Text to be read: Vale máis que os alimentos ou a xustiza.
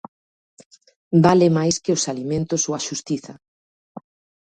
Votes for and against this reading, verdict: 2, 0, accepted